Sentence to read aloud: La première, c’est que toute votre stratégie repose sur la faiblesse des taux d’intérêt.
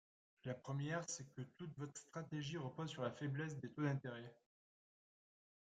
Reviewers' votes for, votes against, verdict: 2, 1, accepted